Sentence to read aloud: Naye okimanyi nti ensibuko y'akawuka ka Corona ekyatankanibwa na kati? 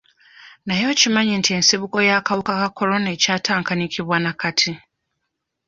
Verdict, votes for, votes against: rejected, 0, 2